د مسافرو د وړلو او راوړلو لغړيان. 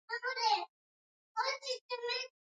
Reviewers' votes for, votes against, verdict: 1, 2, rejected